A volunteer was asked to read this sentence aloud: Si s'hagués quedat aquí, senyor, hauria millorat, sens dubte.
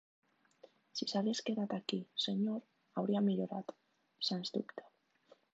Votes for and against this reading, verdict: 2, 0, accepted